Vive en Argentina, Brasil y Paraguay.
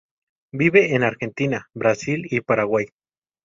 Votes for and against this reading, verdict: 2, 0, accepted